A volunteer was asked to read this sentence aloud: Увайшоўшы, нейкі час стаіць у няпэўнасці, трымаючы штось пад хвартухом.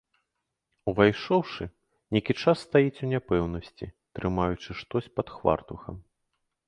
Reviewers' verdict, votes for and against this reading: rejected, 1, 2